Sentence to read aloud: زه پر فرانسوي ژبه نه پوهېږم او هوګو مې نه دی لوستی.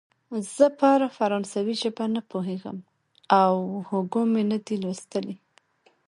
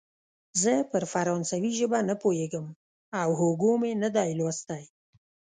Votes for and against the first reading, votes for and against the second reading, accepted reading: 0, 2, 2, 0, second